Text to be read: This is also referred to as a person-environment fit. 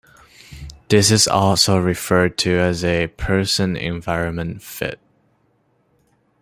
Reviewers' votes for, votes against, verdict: 2, 0, accepted